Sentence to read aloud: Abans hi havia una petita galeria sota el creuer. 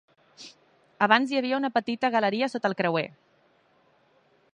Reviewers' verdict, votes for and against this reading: accepted, 3, 0